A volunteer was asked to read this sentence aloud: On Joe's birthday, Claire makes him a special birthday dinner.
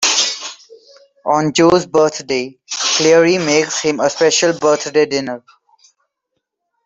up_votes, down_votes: 2, 0